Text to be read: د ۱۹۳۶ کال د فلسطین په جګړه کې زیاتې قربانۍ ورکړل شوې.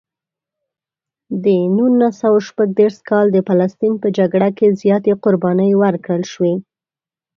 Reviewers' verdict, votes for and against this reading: rejected, 0, 2